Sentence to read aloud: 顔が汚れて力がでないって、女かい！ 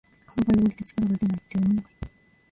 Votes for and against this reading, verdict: 0, 2, rejected